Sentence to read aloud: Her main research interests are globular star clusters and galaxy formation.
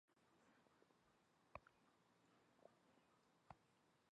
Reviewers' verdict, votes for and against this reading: rejected, 0, 2